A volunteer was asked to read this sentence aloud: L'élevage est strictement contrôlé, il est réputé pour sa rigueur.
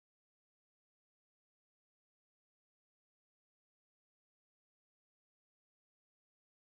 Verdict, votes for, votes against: rejected, 1, 2